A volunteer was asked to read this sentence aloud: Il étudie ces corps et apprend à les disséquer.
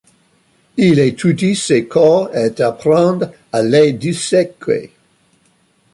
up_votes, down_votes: 0, 2